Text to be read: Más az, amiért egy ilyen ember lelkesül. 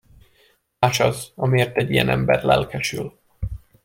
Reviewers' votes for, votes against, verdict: 2, 0, accepted